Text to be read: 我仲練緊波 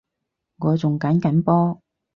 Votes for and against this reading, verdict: 0, 4, rejected